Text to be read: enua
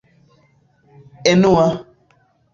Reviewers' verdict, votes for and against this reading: accepted, 2, 1